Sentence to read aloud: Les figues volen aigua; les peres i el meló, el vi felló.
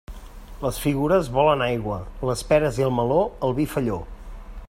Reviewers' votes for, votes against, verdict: 1, 2, rejected